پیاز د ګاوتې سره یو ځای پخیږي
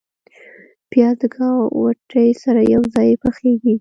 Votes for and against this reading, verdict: 2, 0, accepted